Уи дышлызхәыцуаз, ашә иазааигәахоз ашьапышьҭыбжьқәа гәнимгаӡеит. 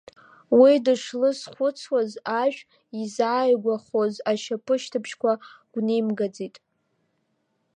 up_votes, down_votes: 1, 3